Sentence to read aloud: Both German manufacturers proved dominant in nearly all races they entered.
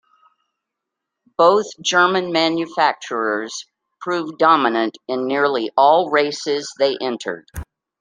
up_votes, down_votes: 2, 0